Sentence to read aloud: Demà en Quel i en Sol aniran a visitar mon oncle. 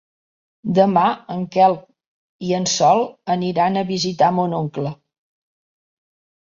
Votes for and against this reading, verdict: 2, 0, accepted